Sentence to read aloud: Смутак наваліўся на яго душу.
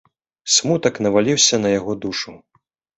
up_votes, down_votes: 2, 1